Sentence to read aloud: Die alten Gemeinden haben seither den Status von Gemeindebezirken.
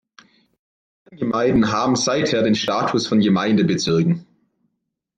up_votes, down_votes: 0, 2